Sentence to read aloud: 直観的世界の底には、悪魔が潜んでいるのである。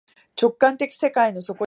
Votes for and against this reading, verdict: 0, 2, rejected